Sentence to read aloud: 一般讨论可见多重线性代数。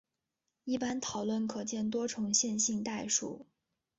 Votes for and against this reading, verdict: 5, 3, accepted